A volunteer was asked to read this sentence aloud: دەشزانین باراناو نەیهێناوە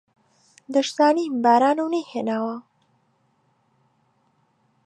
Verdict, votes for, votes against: rejected, 1, 2